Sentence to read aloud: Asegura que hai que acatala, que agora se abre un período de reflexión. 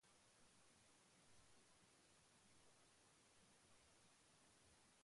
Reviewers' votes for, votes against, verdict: 0, 2, rejected